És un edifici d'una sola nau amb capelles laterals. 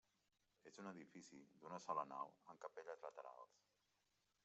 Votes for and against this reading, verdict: 1, 2, rejected